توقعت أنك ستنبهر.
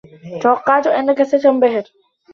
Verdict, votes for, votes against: accepted, 2, 0